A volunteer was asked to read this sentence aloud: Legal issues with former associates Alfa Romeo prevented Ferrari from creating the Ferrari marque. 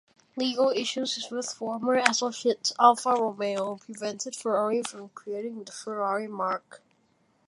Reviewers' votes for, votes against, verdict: 2, 1, accepted